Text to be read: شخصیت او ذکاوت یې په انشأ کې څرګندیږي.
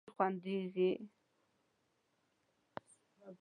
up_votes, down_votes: 0, 2